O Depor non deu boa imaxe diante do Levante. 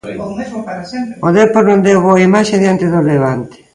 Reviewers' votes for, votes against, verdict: 0, 2, rejected